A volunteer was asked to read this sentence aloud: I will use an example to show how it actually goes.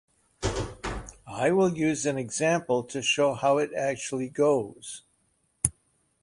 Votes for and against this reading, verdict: 3, 0, accepted